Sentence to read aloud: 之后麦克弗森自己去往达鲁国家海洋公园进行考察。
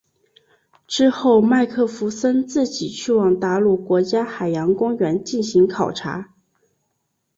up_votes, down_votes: 2, 0